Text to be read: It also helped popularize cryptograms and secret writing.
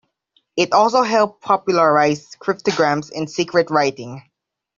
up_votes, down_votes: 2, 0